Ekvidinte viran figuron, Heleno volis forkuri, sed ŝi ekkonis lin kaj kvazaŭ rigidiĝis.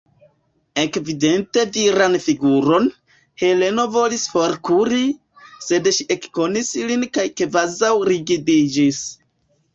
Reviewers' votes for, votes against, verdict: 1, 2, rejected